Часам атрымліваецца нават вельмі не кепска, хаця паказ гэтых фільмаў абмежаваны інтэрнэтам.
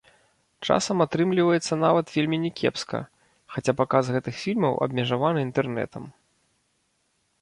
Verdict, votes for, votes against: rejected, 1, 2